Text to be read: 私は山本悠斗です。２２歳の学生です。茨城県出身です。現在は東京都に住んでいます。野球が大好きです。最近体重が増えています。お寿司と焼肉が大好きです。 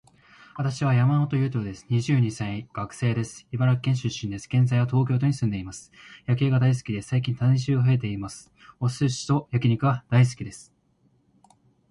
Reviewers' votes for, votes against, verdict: 0, 2, rejected